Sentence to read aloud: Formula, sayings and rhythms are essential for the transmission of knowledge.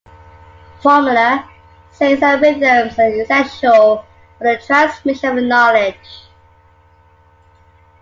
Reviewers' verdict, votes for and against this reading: rejected, 0, 2